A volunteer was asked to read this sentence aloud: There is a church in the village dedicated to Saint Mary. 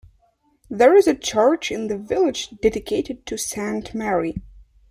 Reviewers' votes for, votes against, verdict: 2, 0, accepted